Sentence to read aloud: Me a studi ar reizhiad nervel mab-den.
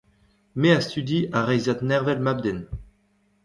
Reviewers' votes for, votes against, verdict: 1, 2, rejected